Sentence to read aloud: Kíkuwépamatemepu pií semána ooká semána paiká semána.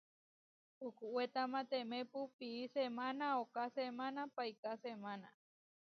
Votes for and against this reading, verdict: 0, 2, rejected